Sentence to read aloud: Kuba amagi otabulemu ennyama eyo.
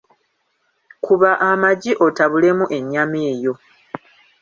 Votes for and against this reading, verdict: 2, 1, accepted